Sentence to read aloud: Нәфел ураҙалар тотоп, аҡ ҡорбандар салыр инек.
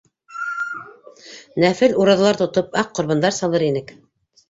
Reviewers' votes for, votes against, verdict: 1, 2, rejected